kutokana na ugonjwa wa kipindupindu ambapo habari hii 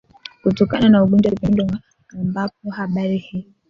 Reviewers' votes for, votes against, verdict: 1, 2, rejected